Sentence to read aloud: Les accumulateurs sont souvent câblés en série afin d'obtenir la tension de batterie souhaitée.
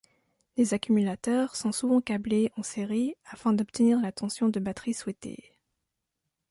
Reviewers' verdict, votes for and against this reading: accepted, 2, 0